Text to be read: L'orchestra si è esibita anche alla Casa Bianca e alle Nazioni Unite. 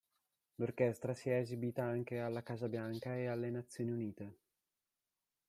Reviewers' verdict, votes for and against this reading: rejected, 0, 2